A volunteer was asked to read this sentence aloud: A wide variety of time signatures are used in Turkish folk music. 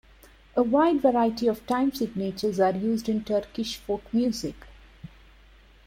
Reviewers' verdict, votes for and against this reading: rejected, 1, 2